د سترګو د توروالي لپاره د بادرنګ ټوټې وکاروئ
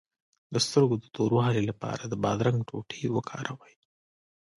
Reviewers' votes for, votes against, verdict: 1, 2, rejected